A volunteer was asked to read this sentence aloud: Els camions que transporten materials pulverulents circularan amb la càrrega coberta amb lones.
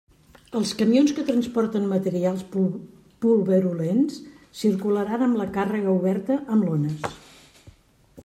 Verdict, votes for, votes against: rejected, 0, 2